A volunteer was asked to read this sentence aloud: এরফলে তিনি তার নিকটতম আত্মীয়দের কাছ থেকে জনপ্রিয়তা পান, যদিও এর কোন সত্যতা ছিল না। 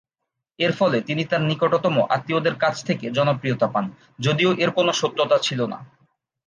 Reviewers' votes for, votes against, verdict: 2, 0, accepted